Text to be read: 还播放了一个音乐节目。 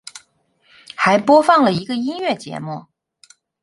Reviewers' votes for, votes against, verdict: 4, 0, accepted